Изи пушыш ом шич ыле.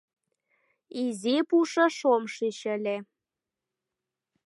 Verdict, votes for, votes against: accepted, 2, 0